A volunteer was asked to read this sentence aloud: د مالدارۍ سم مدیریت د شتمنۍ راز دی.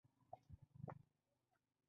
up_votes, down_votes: 1, 2